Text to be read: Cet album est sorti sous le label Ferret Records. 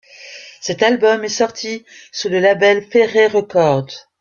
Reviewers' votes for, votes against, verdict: 0, 2, rejected